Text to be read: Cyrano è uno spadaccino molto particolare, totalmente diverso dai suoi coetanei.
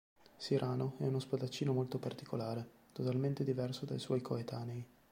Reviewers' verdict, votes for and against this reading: accepted, 2, 0